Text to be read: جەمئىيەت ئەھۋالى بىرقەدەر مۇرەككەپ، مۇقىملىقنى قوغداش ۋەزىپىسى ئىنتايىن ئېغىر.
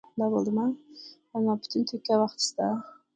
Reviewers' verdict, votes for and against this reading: rejected, 0, 2